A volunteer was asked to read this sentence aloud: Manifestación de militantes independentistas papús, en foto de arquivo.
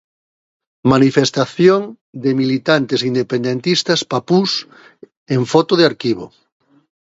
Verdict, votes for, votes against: accepted, 2, 1